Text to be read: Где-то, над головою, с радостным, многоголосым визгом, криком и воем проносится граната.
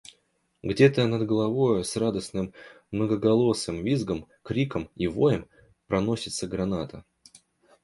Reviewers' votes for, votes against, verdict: 2, 0, accepted